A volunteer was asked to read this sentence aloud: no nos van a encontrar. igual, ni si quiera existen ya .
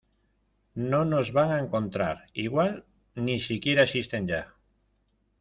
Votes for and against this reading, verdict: 2, 0, accepted